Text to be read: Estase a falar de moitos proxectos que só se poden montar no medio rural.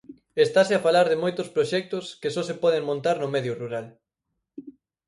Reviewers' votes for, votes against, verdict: 4, 0, accepted